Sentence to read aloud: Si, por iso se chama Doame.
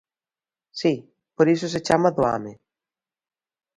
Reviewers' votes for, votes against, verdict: 2, 0, accepted